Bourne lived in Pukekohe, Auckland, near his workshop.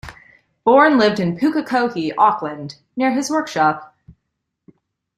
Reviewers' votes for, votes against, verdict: 2, 0, accepted